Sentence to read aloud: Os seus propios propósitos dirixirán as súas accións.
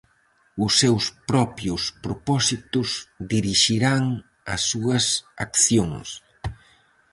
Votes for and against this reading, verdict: 4, 0, accepted